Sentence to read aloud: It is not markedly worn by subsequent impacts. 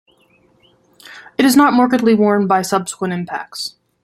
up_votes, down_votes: 2, 0